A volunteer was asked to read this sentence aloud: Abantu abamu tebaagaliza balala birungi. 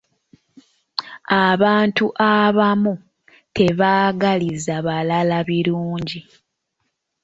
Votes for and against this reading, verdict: 0, 2, rejected